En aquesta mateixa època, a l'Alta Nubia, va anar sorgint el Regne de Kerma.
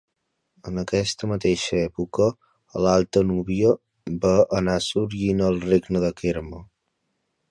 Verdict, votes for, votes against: accepted, 2, 0